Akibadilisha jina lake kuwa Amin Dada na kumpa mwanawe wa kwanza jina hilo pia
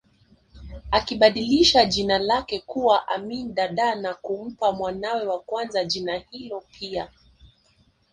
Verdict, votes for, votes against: rejected, 0, 2